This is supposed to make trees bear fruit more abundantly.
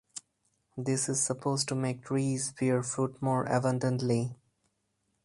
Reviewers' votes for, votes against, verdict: 2, 0, accepted